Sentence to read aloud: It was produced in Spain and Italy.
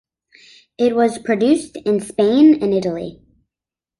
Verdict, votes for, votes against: accepted, 2, 0